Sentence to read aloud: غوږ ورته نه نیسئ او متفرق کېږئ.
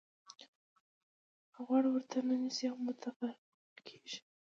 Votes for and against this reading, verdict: 2, 0, accepted